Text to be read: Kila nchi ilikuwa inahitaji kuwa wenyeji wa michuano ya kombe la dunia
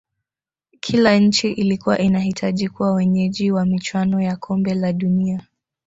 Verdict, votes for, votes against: accepted, 3, 1